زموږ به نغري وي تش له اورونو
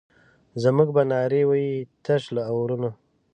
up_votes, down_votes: 0, 2